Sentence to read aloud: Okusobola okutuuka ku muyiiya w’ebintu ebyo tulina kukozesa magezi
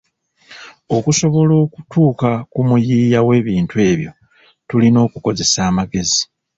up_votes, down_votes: 0, 2